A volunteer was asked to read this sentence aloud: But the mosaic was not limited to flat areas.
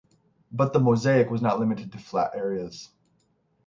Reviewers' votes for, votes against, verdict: 3, 3, rejected